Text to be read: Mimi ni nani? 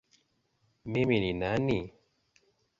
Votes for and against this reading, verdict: 2, 0, accepted